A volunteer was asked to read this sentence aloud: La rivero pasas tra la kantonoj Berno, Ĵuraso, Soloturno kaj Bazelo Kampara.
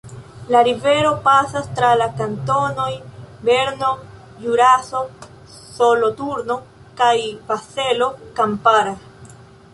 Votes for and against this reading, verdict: 1, 2, rejected